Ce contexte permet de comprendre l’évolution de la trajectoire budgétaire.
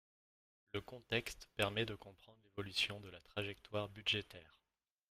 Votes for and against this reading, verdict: 1, 2, rejected